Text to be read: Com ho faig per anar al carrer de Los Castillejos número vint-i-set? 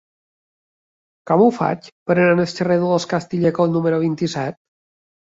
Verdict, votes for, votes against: accepted, 3, 0